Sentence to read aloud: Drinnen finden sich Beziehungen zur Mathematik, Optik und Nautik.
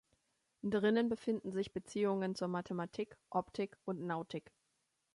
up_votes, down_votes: 1, 2